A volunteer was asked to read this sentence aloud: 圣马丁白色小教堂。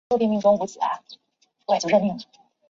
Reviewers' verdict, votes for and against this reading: rejected, 0, 2